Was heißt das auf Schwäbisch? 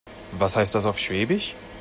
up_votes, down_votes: 2, 0